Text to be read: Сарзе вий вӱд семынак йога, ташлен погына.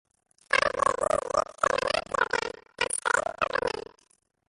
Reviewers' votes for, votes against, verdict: 0, 2, rejected